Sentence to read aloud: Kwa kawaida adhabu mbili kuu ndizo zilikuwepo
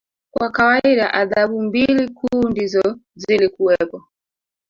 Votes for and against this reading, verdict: 1, 2, rejected